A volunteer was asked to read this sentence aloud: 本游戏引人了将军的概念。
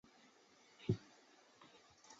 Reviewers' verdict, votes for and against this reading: rejected, 2, 5